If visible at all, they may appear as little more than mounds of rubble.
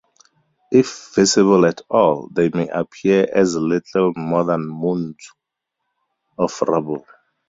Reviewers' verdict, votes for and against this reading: rejected, 0, 2